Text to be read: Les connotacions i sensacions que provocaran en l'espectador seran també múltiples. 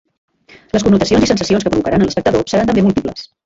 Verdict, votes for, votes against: rejected, 0, 2